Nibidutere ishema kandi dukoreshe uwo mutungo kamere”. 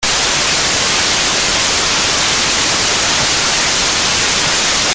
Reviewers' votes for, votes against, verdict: 0, 2, rejected